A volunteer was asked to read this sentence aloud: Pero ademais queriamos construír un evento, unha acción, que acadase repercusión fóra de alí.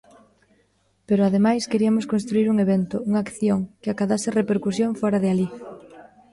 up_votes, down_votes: 1, 2